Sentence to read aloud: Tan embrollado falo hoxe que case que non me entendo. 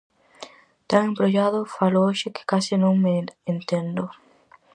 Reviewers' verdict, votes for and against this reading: rejected, 0, 4